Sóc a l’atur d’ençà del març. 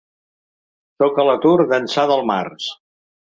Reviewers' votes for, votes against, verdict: 1, 2, rejected